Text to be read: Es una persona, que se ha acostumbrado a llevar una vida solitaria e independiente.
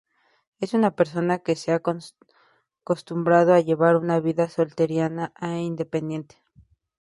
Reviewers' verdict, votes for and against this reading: rejected, 0, 2